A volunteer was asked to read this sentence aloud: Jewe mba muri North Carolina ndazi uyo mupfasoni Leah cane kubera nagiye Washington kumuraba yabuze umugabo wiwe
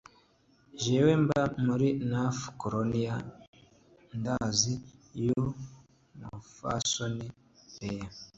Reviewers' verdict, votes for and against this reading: rejected, 1, 2